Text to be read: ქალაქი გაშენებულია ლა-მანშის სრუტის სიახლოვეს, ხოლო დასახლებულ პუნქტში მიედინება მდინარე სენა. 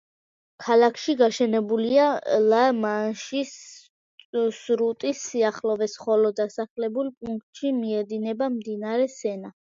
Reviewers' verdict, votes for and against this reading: rejected, 0, 2